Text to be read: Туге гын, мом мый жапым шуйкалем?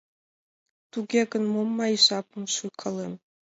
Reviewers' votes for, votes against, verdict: 3, 0, accepted